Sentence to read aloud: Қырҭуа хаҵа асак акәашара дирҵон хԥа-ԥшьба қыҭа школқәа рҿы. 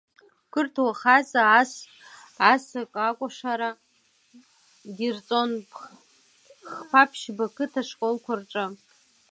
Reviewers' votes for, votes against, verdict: 0, 2, rejected